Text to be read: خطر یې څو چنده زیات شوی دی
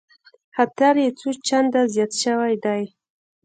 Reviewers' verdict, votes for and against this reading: rejected, 0, 2